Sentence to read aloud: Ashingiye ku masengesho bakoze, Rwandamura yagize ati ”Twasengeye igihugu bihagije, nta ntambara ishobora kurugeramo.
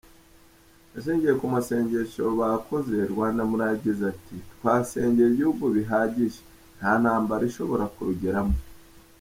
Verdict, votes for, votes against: accepted, 3, 0